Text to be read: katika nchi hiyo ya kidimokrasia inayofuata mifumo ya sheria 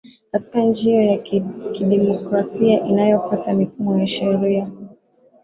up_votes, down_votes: 6, 0